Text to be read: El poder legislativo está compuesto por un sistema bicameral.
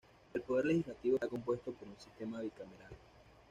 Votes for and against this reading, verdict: 2, 0, accepted